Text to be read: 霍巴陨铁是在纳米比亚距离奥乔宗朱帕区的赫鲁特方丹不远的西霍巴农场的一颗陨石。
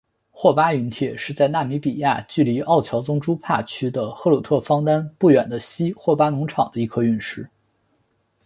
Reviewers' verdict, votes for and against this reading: accepted, 4, 0